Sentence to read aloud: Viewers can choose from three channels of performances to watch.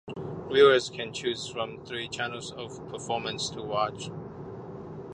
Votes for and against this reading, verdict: 1, 2, rejected